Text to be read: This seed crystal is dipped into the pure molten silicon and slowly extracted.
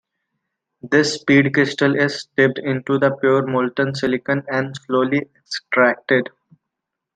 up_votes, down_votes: 2, 0